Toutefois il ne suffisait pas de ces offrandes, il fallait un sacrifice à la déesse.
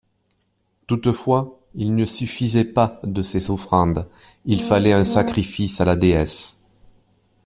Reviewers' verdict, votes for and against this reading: accepted, 2, 0